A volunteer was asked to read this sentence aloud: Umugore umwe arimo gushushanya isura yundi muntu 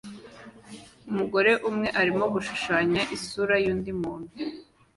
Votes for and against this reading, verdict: 2, 0, accepted